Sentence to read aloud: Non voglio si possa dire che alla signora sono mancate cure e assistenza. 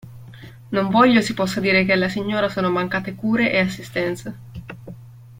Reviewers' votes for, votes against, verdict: 2, 0, accepted